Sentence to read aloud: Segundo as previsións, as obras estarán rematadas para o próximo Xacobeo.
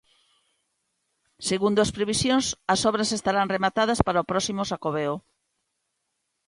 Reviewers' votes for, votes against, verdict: 2, 0, accepted